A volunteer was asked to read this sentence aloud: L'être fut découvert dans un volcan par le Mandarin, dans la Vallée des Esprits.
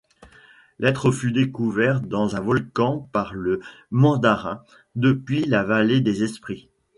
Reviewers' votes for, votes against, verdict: 1, 2, rejected